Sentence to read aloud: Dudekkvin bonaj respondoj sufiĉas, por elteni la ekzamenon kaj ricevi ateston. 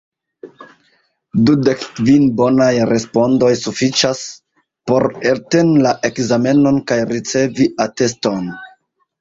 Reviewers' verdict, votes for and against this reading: rejected, 0, 2